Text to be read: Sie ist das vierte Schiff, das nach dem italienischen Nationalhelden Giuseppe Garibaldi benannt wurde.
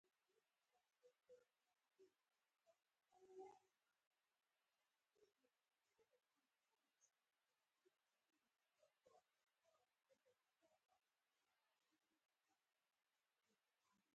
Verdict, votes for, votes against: rejected, 0, 4